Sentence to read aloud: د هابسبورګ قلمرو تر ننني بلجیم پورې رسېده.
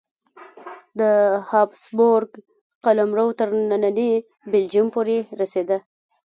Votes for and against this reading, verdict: 1, 2, rejected